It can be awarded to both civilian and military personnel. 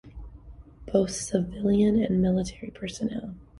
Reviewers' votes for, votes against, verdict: 1, 2, rejected